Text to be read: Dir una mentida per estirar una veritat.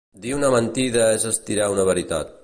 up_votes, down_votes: 0, 2